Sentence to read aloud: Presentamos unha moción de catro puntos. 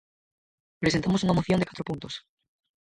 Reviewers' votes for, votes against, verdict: 0, 4, rejected